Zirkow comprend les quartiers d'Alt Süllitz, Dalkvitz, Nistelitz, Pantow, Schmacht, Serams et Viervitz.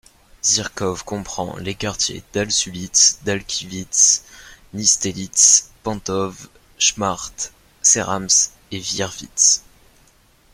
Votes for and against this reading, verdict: 2, 0, accepted